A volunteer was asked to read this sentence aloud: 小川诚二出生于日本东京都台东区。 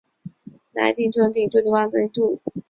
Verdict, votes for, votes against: rejected, 3, 5